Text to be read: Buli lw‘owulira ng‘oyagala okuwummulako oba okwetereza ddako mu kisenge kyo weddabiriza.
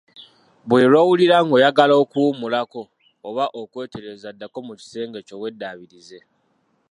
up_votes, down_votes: 1, 2